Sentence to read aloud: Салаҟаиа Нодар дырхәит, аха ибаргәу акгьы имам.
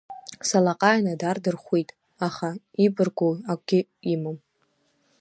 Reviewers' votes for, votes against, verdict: 0, 2, rejected